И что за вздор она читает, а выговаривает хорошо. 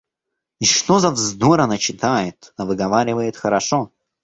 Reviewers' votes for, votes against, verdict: 0, 2, rejected